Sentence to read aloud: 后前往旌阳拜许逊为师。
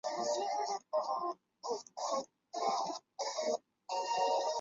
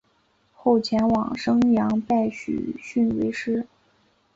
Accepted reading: second